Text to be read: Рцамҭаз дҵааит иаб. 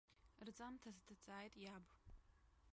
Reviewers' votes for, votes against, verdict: 0, 2, rejected